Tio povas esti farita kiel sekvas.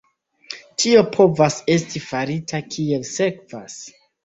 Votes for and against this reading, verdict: 2, 0, accepted